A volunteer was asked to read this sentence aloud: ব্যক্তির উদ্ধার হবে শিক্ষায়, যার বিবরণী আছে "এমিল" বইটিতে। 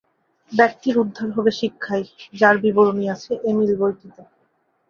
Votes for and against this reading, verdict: 8, 3, accepted